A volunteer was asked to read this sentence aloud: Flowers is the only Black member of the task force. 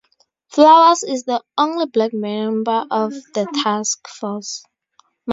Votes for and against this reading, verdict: 4, 6, rejected